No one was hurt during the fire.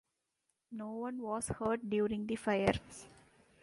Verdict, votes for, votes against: rejected, 1, 2